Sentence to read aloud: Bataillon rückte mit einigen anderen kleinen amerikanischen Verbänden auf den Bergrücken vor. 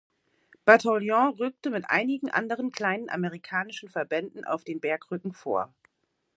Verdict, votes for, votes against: accepted, 2, 0